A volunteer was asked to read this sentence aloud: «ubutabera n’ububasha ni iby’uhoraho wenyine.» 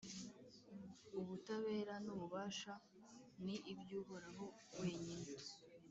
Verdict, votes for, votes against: rejected, 0, 2